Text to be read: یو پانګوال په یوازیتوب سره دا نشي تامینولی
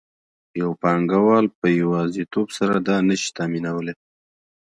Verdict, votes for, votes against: accepted, 2, 0